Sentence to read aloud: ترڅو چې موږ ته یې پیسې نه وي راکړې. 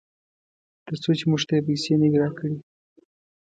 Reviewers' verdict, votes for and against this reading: accepted, 2, 0